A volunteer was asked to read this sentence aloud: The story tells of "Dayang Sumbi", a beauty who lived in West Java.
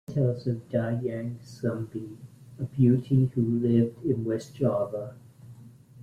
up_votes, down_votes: 0, 2